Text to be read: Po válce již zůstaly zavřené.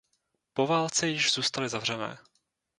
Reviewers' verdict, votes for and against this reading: rejected, 0, 2